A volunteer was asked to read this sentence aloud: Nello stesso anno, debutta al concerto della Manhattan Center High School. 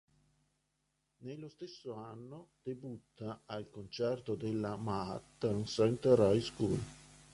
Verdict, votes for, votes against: rejected, 0, 2